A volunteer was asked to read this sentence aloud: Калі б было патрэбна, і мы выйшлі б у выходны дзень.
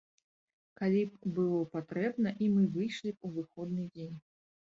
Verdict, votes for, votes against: accepted, 2, 0